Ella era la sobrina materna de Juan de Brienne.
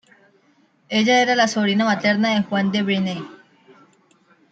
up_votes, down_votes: 1, 2